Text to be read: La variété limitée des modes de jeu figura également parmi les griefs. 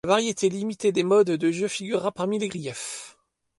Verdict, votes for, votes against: rejected, 1, 2